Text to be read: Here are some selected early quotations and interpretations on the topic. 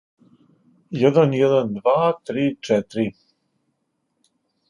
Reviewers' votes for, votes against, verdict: 1, 2, rejected